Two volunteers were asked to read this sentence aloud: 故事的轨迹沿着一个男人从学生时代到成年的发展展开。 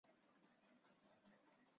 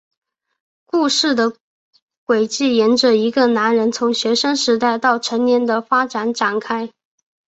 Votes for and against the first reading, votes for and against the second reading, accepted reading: 2, 3, 2, 0, second